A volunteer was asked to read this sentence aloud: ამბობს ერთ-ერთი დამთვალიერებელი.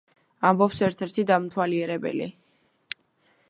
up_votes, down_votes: 2, 1